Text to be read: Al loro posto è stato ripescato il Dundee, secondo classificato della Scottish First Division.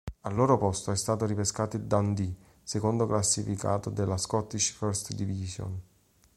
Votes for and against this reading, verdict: 2, 0, accepted